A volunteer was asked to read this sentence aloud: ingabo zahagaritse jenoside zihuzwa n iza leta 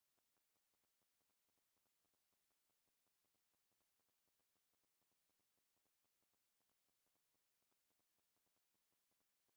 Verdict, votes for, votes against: rejected, 0, 2